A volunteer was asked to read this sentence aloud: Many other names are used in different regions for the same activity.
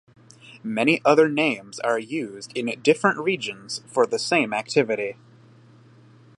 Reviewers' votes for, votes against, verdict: 0, 2, rejected